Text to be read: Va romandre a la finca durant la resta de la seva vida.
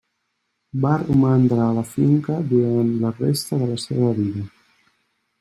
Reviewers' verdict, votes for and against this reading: accepted, 3, 0